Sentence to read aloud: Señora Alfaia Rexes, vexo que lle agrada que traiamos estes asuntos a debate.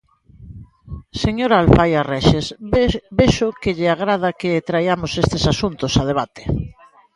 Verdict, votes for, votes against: rejected, 0, 2